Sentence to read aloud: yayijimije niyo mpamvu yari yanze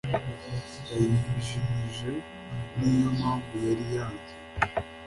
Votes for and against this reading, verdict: 2, 0, accepted